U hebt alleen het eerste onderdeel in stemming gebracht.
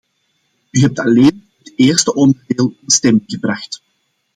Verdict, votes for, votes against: rejected, 1, 2